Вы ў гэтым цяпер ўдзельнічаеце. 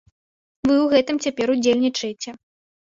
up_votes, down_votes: 2, 0